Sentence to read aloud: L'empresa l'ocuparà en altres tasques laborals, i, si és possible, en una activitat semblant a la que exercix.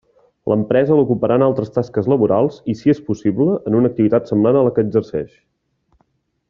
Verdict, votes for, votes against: accepted, 2, 0